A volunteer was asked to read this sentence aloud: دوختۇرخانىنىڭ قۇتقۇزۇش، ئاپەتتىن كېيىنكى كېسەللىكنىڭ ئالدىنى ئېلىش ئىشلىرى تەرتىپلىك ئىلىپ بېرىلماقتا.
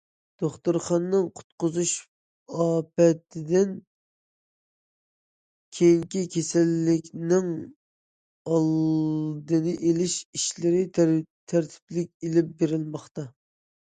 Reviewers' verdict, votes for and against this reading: rejected, 0, 2